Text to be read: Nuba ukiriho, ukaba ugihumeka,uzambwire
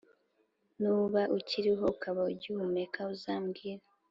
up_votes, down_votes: 2, 0